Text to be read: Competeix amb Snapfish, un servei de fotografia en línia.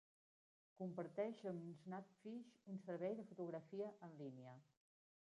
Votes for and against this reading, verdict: 0, 2, rejected